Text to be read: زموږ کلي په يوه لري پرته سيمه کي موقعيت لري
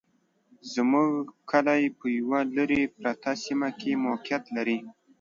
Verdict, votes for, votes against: rejected, 1, 2